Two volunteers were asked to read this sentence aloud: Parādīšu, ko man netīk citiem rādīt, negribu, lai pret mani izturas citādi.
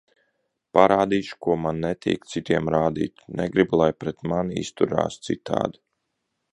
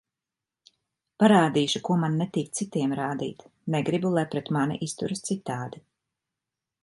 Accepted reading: second